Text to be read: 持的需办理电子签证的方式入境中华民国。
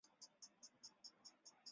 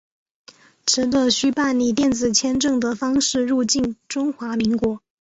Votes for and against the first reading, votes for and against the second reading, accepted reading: 0, 3, 3, 0, second